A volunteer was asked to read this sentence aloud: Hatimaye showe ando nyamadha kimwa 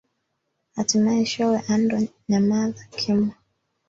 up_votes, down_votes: 1, 2